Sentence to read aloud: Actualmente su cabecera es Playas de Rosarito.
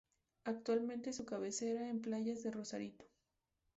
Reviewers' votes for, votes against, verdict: 2, 2, rejected